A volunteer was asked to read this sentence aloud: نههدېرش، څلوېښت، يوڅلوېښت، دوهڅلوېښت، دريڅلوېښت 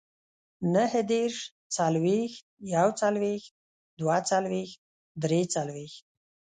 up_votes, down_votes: 1, 2